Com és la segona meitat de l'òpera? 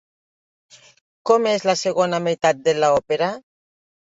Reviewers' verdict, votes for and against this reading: rejected, 0, 2